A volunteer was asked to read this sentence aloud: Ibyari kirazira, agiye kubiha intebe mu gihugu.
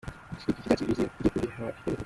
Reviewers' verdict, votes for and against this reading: rejected, 0, 2